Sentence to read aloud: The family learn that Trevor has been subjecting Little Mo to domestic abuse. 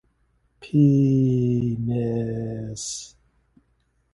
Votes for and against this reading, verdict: 0, 2, rejected